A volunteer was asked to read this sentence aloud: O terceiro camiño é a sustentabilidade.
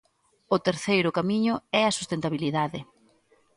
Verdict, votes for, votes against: accepted, 2, 0